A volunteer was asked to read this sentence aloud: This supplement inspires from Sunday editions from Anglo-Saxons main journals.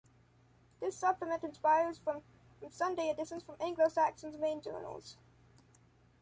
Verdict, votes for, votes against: accepted, 2, 0